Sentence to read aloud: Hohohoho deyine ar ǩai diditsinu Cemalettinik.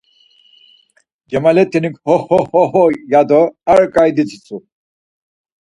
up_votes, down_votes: 0, 4